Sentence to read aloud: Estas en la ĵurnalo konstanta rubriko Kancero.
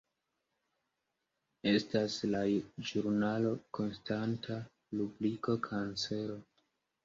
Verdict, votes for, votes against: rejected, 1, 2